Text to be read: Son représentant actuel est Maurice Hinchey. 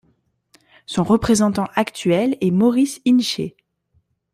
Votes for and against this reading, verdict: 2, 0, accepted